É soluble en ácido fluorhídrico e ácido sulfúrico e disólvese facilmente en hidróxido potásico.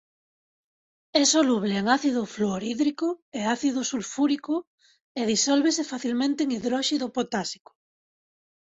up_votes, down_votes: 1, 2